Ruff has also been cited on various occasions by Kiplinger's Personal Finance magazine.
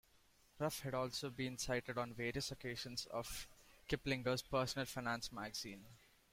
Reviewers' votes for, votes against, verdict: 0, 2, rejected